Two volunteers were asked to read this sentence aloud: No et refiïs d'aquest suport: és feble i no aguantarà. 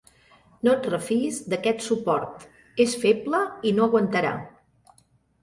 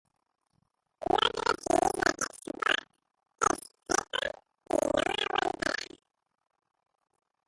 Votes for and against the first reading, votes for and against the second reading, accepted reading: 2, 0, 0, 2, first